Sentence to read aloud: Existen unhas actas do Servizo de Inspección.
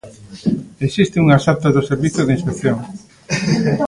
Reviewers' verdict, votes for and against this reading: rejected, 0, 2